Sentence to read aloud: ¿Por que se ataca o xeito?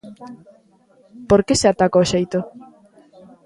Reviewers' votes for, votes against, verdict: 0, 2, rejected